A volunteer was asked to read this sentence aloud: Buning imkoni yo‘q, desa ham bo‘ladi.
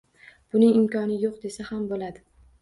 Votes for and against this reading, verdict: 0, 2, rejected